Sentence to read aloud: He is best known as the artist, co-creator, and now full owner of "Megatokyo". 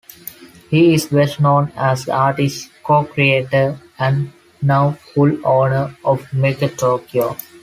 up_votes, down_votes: 2, 0